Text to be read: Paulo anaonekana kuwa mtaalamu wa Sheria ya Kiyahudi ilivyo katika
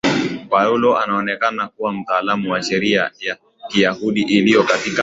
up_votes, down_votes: 2, 0